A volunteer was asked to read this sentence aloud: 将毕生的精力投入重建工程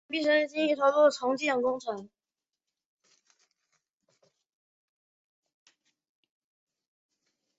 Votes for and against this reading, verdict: 1, 2, rejected